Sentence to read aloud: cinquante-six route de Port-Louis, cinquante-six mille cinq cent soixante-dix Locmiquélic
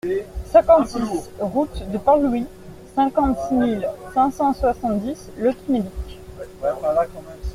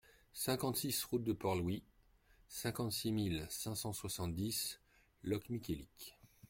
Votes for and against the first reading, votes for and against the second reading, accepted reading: 0, 2, 2, 0, second